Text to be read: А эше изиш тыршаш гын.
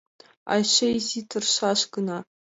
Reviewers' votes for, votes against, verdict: 1, 2, rejected